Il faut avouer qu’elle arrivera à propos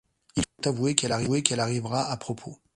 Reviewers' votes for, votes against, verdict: 0, 2, rejected